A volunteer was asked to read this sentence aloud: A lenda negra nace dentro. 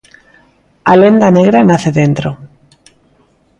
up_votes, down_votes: 2, 0